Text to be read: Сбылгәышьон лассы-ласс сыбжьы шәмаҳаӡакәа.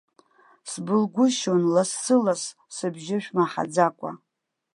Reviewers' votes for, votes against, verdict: 3, 0, accepted